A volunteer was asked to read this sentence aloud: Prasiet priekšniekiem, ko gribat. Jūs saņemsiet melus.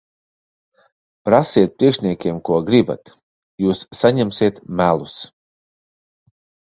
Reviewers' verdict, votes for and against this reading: accepted, 2, 0